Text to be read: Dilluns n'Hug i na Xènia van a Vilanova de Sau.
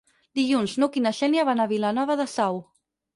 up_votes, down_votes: 0, 4